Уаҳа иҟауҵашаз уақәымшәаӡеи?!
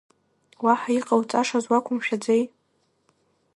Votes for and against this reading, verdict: 1, 2, rejected